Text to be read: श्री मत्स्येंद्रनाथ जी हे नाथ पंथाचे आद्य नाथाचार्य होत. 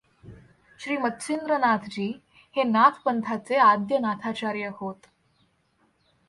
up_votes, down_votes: 2, 0